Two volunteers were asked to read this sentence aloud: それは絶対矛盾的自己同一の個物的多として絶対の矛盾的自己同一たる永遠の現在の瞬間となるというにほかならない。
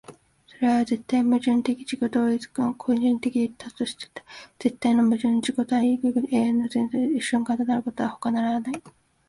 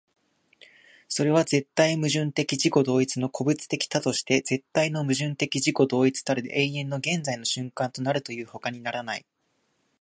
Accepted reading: second